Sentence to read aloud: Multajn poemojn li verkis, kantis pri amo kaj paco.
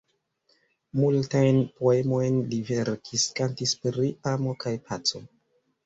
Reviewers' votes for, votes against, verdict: 2, 0, accepted